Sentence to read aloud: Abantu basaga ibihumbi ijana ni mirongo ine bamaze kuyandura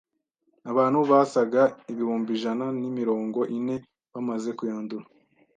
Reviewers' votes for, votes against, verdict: 2, 0, accepted